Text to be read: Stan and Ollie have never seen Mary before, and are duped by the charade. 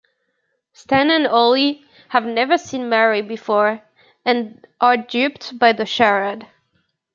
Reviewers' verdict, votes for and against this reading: accepted, 2, 1